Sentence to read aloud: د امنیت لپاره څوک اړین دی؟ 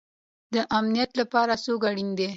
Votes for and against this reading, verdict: 2, 0, accepted